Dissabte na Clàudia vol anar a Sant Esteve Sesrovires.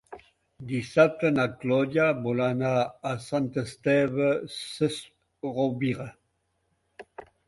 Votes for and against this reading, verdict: 3, 4, rejected